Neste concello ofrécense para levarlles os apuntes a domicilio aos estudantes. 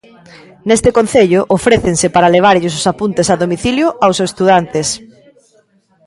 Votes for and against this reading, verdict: 2, 0, accepted